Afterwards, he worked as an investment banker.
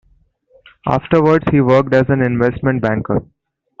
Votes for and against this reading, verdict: 2, 0, accepted